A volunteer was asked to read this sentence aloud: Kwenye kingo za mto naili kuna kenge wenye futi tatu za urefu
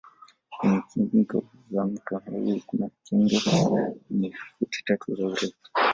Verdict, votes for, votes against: rejected, 0, 2